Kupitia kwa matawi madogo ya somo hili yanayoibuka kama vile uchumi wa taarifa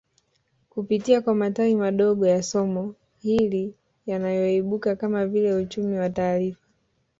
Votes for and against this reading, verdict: 1, 2, rejected